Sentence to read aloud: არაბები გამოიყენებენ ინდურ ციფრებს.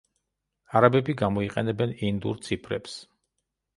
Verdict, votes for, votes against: accepted, 2, 0